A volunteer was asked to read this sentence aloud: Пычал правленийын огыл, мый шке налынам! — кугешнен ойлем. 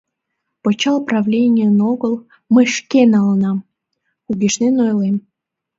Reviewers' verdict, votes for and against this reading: accepted, 2, 0